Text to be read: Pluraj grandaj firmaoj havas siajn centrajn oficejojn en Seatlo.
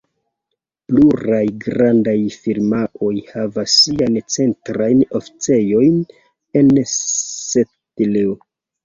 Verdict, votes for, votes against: rejected, 1, 2